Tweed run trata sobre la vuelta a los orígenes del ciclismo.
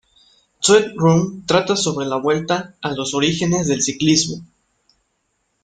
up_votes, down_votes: 1, 2